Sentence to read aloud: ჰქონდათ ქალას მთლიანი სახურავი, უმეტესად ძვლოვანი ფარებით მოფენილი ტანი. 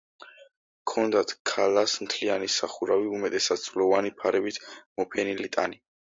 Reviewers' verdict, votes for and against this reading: accepted, 2, 0